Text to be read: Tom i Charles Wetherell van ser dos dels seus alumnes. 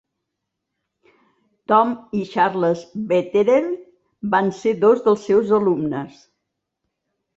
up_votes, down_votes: 2, 0